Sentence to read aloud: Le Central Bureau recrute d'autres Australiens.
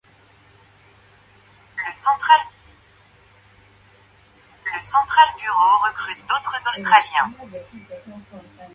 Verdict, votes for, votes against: rejected, 0, 2